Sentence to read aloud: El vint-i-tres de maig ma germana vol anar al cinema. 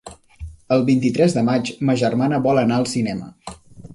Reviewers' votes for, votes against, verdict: 4, 0, accepted